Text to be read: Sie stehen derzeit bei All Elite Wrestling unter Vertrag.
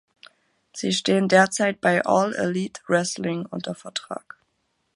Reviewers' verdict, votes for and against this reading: accepted, 2, 0